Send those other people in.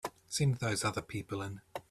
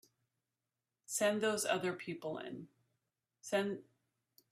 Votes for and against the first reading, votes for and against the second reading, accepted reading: 3, 0, 0, 2, first